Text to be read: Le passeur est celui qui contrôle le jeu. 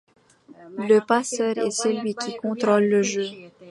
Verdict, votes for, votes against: accepted, 2, 1